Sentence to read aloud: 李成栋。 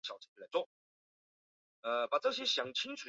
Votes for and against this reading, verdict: 1, 2, rejected